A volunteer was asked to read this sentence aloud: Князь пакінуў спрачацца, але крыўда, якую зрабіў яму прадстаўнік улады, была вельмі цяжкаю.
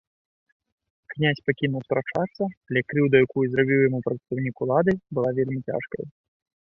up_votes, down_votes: 2, 0